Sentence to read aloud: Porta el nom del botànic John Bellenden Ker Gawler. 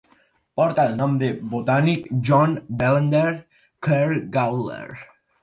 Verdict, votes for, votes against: accepted, 4, 1